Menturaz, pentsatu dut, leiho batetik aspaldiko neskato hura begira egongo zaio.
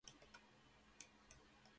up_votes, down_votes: 0, 2